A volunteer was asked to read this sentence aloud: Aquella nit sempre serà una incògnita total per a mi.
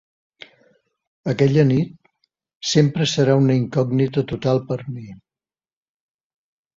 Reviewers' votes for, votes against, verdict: 4, 0, accepted